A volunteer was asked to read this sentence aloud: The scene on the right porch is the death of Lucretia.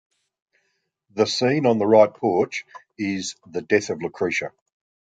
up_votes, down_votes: 2, 0